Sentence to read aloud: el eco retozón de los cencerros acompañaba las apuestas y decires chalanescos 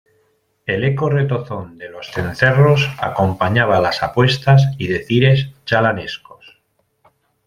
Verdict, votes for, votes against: accepted, 2, 0